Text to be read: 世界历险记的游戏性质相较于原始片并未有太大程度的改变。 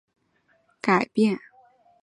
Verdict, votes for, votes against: rejected, 0, 2